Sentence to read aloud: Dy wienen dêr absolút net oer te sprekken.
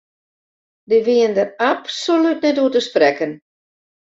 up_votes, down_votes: 0, 2